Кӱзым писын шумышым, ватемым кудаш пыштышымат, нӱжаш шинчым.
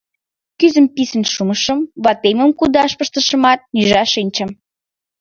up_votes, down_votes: 1, 2